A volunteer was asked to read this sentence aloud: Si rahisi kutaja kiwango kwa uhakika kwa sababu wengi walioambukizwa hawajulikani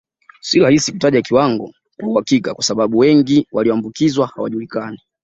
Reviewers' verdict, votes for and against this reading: accepted, 2, 0